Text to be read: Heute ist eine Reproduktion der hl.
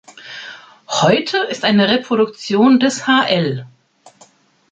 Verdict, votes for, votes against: rejected, 1, 2